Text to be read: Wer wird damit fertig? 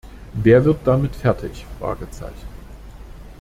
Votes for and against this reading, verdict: 2, 1, accepted